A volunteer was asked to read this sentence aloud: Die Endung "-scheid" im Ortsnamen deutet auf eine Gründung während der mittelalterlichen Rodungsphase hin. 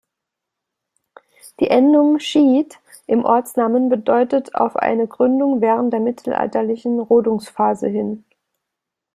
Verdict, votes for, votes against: rejected, 0, 2